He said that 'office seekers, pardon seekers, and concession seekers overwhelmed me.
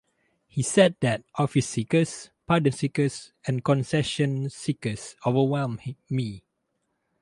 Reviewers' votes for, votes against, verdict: 2, 4, rejected